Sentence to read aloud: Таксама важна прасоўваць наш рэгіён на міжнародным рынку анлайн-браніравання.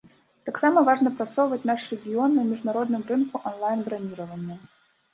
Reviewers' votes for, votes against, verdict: 3, 0, accepted